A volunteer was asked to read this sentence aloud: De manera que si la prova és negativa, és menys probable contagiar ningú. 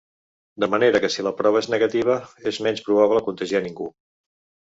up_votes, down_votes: 2, 0